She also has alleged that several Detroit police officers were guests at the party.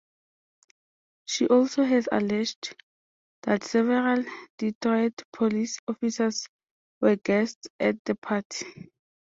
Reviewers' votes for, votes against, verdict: 2, 0, accepted